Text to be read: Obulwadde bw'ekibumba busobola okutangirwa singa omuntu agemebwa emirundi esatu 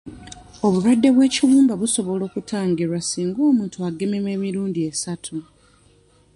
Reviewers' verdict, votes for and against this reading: accepted, 2, 1